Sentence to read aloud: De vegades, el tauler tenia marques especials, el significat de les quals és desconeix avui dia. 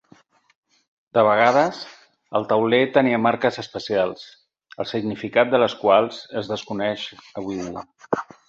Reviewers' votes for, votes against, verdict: 2, 4, rejected